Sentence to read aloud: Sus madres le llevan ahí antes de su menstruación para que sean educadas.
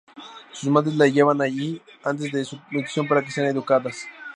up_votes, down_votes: 0, 2